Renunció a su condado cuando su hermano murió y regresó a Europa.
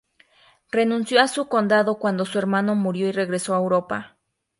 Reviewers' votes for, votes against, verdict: 2, 0, accepted